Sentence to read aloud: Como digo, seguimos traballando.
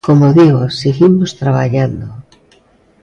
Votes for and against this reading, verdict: 2, 0, accepted